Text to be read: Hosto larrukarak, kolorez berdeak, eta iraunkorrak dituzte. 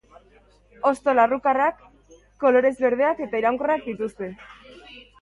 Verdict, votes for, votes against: rejected, 1, 2